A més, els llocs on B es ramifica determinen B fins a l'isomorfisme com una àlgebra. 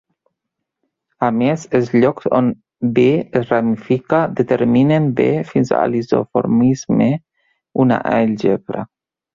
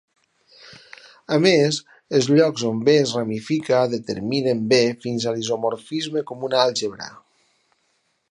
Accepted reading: second